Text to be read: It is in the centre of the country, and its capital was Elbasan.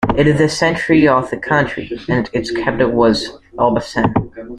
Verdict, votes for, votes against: rejected, 0, 2